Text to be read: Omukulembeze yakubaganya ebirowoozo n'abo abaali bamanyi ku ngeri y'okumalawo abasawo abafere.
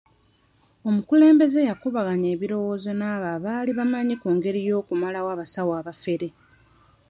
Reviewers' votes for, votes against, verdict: 0, 2, rejected